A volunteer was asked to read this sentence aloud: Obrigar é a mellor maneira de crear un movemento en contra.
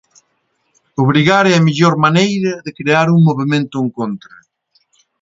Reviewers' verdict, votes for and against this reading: rejected, 1, 2